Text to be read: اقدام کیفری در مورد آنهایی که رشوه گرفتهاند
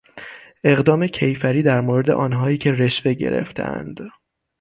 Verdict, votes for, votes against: accepted, 6, 0